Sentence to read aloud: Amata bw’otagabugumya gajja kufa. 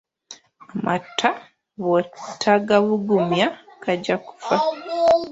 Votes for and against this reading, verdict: 0, 2, rejected